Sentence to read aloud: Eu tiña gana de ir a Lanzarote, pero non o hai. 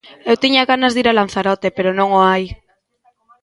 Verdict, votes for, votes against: rejected, 1, 2